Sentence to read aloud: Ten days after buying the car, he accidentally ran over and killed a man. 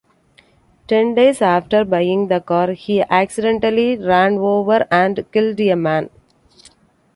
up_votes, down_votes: 2, 1